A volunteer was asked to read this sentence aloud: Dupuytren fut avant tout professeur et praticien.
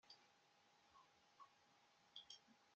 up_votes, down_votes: 0, 2